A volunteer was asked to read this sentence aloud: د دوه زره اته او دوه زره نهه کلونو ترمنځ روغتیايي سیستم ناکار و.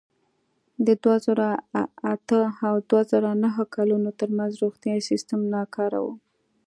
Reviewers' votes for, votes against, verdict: 0, 2, rejected